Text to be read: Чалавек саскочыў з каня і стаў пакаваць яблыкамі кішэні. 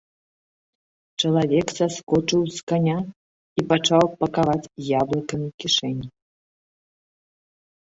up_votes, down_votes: 1, 2